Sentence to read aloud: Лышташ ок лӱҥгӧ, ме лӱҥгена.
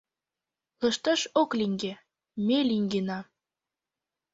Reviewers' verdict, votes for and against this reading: rejected, 0, 2